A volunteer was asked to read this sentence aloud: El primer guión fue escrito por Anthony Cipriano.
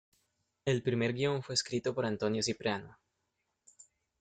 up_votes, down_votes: 1, 2